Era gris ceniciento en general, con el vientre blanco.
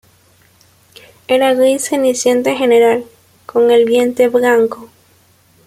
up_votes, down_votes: 2, 1